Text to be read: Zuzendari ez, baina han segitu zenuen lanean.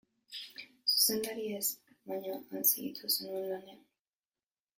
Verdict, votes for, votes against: rejected, 1, 5